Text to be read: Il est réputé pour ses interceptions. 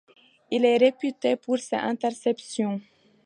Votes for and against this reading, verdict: 2, 0, accepted